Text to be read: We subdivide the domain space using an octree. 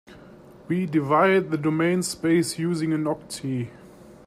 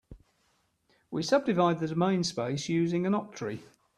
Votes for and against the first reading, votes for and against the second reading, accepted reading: 1, 2, 3, 0, second